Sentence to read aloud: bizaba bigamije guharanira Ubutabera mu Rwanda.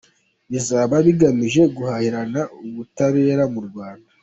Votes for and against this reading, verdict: 0, 2, rejected